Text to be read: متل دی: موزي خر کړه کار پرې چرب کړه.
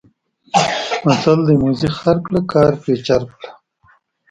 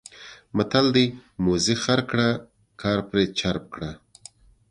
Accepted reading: second